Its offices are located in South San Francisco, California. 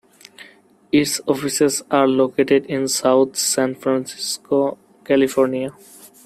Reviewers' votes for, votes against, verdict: 2, 1, accepted